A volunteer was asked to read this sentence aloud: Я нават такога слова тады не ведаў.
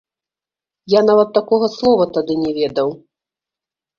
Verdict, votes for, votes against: rejected, 1, 2